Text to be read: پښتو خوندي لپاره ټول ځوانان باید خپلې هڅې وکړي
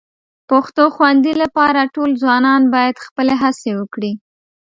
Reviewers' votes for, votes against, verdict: 1, 2, rejected